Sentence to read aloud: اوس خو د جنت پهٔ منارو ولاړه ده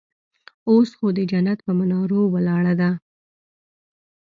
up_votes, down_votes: 3, 0